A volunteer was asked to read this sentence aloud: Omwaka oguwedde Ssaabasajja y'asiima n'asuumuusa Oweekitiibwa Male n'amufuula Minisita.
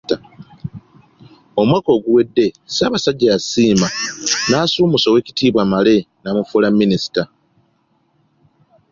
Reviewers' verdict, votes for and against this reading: accepted, 3, 1